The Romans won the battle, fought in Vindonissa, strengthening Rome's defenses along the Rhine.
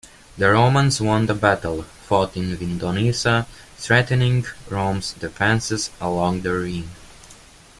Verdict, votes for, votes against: rejected, 1, 2